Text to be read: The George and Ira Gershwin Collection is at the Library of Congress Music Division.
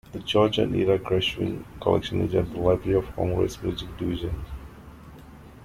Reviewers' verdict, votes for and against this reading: rejected, 0, 2